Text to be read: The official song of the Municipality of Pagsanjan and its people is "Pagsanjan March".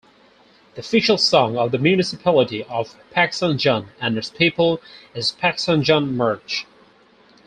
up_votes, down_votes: 2, 0